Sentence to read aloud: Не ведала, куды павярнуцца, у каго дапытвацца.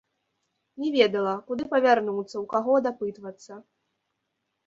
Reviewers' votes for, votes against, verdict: 2, 0, accepted